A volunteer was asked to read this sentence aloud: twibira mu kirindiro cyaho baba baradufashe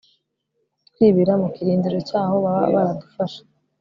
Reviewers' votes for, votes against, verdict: 3, 0, accepted